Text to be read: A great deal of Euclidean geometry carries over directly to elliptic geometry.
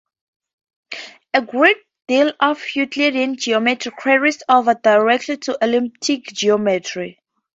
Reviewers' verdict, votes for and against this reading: rejected, 2, 2